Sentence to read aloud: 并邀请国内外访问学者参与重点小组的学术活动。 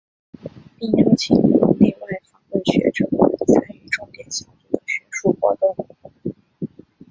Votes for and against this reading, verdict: 1, 3, rejected